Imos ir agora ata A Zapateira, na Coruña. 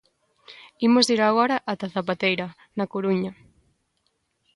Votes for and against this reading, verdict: 2, 0, accepted